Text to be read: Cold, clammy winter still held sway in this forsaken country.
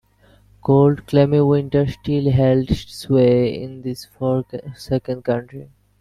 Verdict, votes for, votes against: accepted, 2, 0